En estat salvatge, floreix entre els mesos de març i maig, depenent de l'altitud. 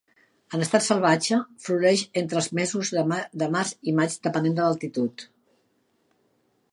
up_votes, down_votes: 1, 2